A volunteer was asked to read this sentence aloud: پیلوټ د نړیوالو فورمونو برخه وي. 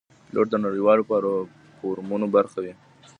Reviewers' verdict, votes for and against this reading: rejected, 0, 2